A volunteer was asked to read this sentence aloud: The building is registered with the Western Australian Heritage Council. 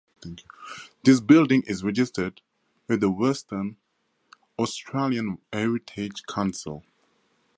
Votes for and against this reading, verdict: 2, 0, accepted